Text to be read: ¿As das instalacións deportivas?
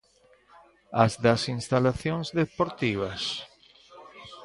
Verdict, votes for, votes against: accepted, 2, 0